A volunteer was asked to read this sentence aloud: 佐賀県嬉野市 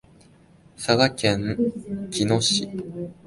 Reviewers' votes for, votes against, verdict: 1, 2, rejected